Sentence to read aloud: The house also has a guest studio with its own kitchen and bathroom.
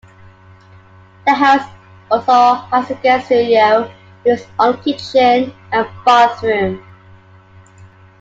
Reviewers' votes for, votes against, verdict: 1, 2, rejected